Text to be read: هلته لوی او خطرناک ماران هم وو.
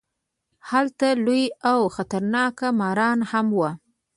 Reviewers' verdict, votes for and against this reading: rejected, 0, 2